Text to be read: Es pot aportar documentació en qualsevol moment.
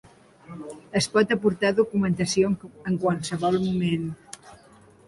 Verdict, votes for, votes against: rejected, 1, 2